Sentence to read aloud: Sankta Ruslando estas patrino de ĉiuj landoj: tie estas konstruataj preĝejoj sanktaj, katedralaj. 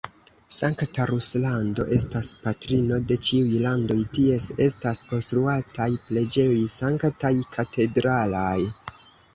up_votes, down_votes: 1, 2